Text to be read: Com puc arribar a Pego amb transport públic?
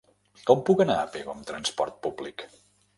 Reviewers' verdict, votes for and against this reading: rejected, 2, 3